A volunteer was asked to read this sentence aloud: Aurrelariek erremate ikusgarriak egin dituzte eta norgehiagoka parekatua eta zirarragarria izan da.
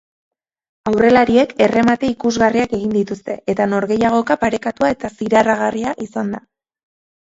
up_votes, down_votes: 2, 0